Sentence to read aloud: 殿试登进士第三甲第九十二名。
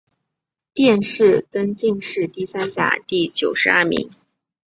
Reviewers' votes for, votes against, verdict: 2, 0, accepted